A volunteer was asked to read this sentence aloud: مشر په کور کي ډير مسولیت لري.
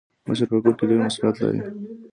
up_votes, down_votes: 2, 0